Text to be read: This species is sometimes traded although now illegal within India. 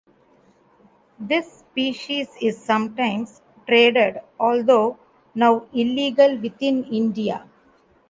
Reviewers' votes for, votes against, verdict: 2, 0, accepted